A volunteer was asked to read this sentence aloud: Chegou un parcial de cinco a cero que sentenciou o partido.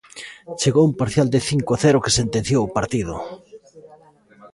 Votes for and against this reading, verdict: 2, 0, accepted